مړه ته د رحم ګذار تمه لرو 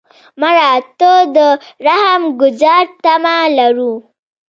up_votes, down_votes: 1, 2